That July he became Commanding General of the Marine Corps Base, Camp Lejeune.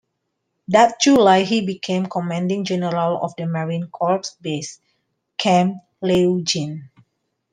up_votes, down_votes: 0, 2